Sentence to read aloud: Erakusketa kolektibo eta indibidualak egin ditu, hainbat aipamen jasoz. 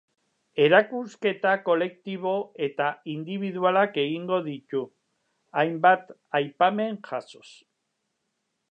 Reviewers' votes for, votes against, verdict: 0, 2, rejected